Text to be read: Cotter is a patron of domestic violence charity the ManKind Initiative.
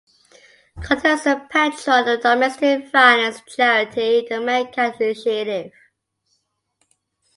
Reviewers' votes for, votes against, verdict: 2, 0, accepted